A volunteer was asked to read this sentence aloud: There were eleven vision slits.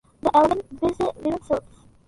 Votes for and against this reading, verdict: 0, 2, rejected